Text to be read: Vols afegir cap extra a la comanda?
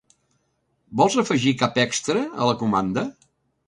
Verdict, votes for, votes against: accepted, 2, 0